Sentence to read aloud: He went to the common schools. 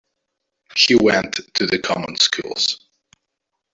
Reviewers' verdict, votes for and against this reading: rejected, 1, 2